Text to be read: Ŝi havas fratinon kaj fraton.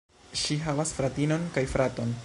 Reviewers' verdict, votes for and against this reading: rejected, 1, 2